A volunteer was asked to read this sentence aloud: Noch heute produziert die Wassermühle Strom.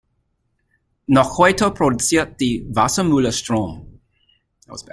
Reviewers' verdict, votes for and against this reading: rejected, 1, 2